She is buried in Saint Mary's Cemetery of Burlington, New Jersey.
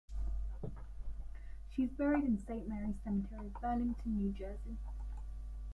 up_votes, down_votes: 1, 2